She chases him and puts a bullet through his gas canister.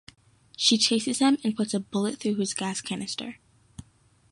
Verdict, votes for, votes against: accepted, 2, 0